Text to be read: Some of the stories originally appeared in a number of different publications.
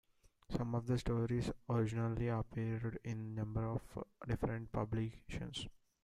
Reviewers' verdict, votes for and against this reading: accepted, 2, 0